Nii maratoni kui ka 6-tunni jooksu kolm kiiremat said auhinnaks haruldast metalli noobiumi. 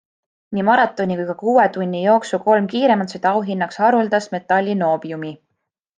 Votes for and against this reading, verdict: 0, 2, rejected